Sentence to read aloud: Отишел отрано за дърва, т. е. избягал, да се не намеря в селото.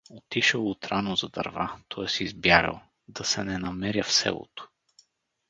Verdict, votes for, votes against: accepted, 2, 0